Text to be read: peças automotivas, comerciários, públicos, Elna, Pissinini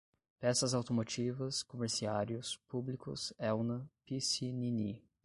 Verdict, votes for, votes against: rejected, 5, 5